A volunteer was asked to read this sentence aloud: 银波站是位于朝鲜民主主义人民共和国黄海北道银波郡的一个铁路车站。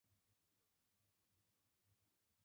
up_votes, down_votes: 0, 2